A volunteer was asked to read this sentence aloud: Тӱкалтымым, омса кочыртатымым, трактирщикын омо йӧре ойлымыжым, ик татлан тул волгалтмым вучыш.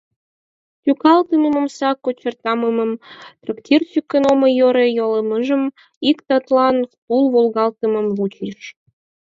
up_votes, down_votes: 2, 4